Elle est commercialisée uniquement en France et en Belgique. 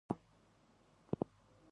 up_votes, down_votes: 0, 2